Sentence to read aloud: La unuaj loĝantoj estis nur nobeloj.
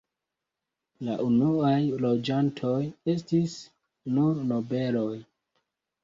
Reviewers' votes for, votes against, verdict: 2, 0, accepted